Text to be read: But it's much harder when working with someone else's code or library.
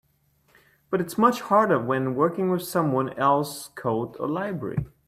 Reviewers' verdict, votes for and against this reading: rejected, 0, 2